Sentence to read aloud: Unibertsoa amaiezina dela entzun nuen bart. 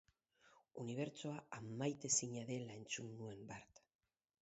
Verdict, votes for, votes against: rejected, 0, 2